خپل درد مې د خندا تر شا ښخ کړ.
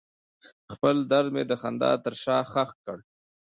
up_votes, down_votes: 2, 1